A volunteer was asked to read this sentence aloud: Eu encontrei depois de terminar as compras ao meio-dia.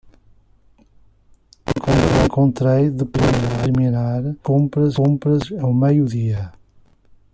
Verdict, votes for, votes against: rejected, 0, 2